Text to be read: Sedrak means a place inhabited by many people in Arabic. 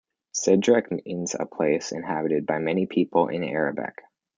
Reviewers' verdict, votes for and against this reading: accepted, 2, 0